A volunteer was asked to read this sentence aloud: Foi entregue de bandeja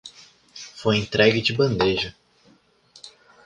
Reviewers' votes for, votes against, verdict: 3, 0, accepted